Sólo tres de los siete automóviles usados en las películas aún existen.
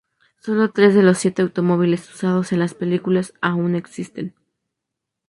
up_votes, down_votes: 2, 0